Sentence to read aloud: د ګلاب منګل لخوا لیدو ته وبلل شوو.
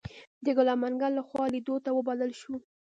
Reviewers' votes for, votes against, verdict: 1, 2, rejected